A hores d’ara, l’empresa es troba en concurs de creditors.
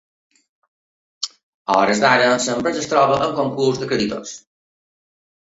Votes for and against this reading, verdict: 0, 2, rejected